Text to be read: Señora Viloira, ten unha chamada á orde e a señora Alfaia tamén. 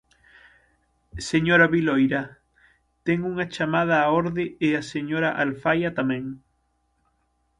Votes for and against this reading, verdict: 6, 0, accepted